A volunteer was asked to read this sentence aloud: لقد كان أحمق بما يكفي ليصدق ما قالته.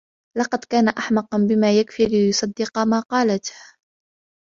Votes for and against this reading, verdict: 2, 0, accepted